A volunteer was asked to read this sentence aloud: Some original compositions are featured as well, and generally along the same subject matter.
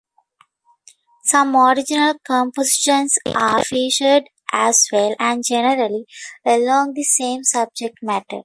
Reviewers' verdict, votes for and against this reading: accepted, 2, 0